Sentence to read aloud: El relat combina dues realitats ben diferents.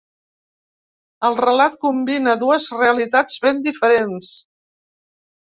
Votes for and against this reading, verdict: 3, 0, accepted